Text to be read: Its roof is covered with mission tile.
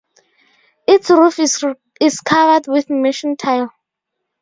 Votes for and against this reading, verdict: 0, 2, rejected